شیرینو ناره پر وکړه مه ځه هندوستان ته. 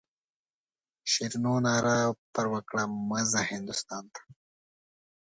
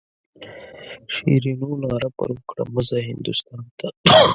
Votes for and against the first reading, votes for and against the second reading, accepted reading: 2, 0, 1, 2, first